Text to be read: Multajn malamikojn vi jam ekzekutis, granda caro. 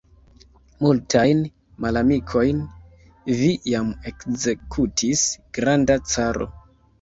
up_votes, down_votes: 0, 2